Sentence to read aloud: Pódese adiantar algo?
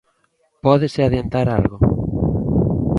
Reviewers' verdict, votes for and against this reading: accepted, 2, 0